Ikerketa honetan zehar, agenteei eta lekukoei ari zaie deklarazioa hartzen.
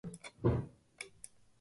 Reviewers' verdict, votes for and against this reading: rejected, 1, 3